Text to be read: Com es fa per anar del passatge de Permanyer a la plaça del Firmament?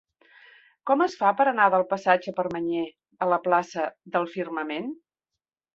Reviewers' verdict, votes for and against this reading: rejected, 1, 2